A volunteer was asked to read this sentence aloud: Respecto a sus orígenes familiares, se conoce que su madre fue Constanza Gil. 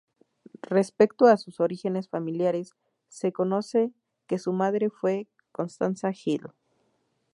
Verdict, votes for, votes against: accepted, 2, 0